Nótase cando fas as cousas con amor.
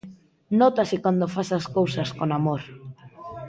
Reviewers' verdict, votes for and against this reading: accepted, 2, 0